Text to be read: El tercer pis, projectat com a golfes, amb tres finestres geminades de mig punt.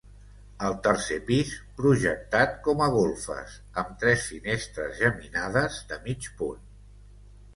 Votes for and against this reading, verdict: 2, 0, accepted